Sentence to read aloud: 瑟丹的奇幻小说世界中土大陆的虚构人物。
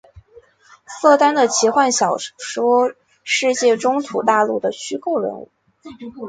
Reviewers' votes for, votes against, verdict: 0, 2, rejected